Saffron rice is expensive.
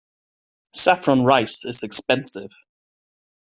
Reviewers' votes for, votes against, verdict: 2, 0, accepted